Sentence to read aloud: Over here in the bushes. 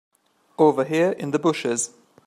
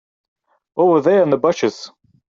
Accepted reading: first